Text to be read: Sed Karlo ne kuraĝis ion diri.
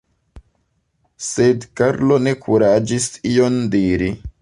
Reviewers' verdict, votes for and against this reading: rejected, 1, 2